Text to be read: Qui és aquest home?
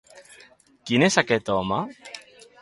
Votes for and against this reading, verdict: 1, 2, rejected